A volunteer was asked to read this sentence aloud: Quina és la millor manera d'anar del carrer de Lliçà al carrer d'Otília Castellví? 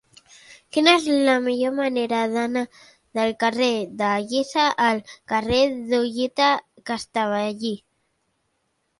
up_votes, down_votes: 0, 2